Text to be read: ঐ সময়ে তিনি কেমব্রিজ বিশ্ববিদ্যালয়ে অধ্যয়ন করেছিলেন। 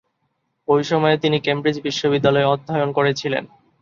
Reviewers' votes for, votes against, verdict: 2, 0, accepted